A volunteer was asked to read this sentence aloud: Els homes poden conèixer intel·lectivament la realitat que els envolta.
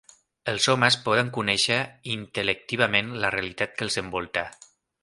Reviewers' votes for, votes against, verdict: 2, 0, accepted